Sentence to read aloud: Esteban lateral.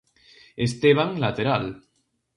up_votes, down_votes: 2, 0